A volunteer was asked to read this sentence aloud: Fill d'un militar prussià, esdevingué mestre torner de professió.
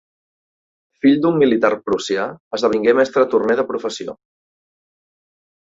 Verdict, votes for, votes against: accepted, 2, 0